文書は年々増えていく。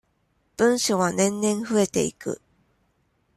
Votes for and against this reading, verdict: 2, 0, accepted